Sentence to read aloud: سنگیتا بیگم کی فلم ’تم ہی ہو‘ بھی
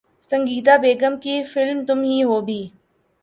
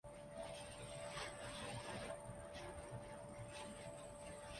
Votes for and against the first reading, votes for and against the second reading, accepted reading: 2, 0, 0, 2, first